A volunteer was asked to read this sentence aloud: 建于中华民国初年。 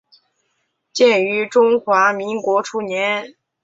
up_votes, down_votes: 4, 0